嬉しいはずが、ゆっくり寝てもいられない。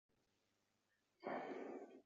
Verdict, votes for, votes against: rejected, 0, 2